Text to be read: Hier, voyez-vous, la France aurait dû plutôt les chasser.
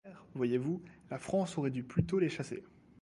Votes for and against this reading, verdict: 0, 2, rejected